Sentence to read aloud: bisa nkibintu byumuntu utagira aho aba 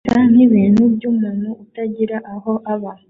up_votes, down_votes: 0, 2